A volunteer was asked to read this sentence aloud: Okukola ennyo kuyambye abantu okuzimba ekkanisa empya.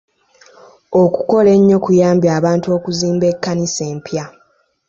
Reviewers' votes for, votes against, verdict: 3, 1, accepted